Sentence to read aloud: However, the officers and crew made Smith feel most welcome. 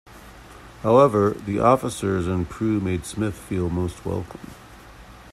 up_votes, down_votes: 2, 0